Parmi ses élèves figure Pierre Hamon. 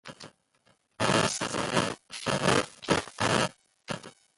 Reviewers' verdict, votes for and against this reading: rejected, 0, 2